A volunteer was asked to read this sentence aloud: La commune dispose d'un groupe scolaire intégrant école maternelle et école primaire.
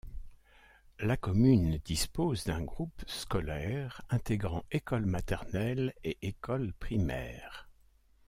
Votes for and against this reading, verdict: 2, 0, accepted